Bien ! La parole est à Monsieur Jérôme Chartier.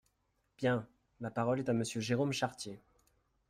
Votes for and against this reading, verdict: 2, 0, accepted